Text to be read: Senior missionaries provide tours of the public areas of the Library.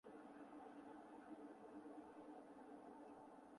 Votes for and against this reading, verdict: 0, 2, rejected